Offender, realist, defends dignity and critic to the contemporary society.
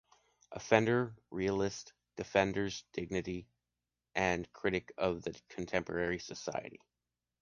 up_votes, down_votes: 0, 2